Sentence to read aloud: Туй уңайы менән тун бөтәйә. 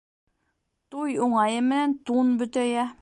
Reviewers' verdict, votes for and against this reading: accepted, 2, 0